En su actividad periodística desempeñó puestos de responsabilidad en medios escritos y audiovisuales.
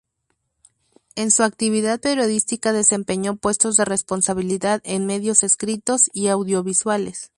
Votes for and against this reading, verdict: 0, 2, rejected